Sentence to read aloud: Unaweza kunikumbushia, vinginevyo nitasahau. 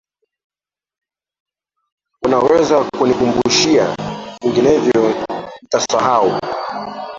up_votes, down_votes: 1, 3